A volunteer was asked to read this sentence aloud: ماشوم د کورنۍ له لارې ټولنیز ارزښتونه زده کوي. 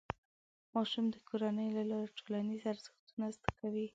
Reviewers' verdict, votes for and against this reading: rejected, 0, 2